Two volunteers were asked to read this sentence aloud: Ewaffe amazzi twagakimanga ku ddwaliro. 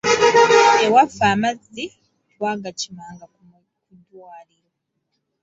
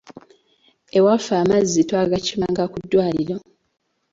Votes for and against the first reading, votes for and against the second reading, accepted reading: 1, 2, 2, 0, second